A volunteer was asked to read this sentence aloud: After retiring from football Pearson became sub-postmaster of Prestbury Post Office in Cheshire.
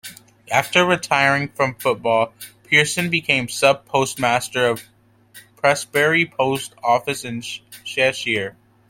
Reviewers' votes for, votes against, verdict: 2, 1, accepted